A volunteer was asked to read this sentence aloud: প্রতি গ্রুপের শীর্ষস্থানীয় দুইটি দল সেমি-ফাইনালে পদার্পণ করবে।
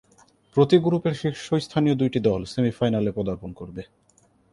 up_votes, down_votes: 2, 0